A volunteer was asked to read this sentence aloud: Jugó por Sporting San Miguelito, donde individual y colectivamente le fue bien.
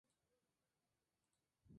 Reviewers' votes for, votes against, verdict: 0, 2, rejected